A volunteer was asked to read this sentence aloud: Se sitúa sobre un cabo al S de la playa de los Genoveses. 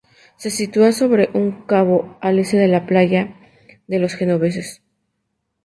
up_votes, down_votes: 2, 2